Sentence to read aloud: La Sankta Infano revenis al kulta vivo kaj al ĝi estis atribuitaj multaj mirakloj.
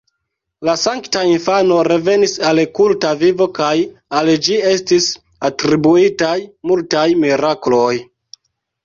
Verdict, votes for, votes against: accepted, 2, 1